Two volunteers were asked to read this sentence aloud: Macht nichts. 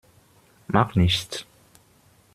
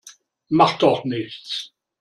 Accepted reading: first